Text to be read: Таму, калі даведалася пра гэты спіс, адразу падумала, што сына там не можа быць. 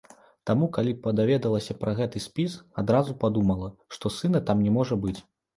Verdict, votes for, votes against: rejected, 0, 2